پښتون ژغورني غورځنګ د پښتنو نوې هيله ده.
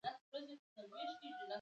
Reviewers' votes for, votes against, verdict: 2, 0, accepted